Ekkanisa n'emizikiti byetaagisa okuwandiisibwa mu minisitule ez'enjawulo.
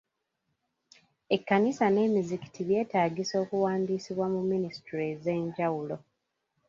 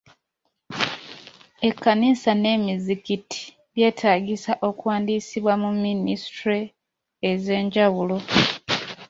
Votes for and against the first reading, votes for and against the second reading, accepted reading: 1, 2, 2, 0, second